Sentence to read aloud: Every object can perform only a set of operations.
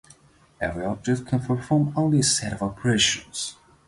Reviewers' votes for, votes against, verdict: 2, 0, accepted